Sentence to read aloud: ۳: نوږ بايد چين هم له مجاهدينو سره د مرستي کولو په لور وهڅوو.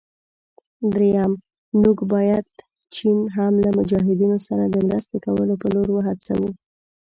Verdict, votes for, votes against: rejected, 0, 2